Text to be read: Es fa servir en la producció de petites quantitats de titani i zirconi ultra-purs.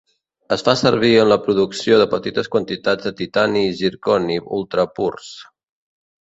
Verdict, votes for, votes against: accepted, 2, 0